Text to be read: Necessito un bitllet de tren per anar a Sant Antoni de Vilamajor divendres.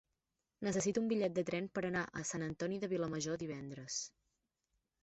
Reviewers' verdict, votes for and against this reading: rejected, 1, 2